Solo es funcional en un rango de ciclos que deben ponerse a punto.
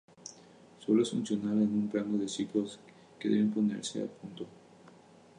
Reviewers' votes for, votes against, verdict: 2, 0, accepted